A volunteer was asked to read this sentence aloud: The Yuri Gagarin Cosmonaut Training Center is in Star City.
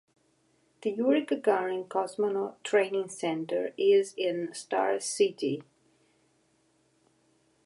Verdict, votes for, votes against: accepted, 2, 0